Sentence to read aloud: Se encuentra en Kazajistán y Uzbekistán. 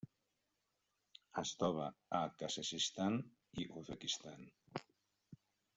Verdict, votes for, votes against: rejected, 1, 2